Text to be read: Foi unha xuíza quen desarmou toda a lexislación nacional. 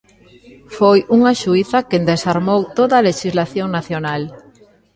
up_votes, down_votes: 0, 2